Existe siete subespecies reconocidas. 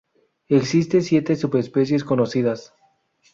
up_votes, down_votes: 0, 2